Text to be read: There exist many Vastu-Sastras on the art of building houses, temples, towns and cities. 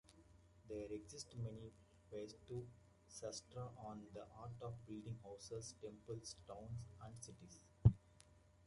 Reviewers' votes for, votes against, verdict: 1, 2, rejected